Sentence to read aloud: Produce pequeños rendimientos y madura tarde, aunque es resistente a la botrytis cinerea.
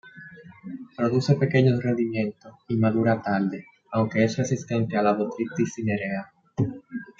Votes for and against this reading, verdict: 2, 0, accepted